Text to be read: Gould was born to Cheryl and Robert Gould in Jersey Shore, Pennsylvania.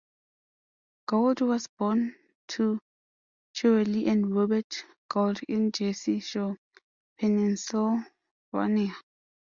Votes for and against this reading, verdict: 0, 2, rejected